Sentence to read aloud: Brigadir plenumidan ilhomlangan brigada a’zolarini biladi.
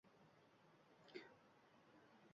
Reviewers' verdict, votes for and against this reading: rejected, 1, 2